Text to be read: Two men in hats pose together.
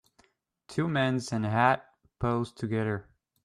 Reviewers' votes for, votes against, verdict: 0, 2, rejected